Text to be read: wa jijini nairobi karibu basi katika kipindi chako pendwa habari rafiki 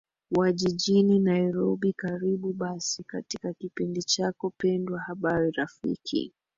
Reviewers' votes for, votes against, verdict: 1, 2, rejected